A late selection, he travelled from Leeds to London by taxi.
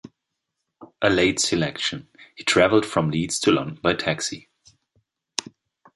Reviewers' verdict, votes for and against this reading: rejected, 1, 2